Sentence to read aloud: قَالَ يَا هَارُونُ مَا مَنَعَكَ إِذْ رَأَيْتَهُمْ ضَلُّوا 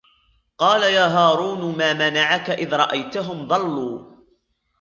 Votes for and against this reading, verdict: 2, 0, accepted